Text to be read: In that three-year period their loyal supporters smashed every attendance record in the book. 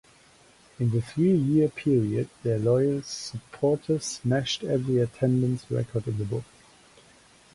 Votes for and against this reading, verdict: 0, 2, rejected